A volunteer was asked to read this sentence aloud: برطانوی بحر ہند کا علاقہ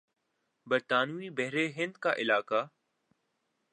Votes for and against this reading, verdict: 2, 0, accepted